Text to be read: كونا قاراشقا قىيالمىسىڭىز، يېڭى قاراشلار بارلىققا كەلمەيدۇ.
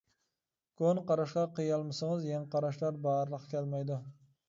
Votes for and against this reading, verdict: 2, 1, accepted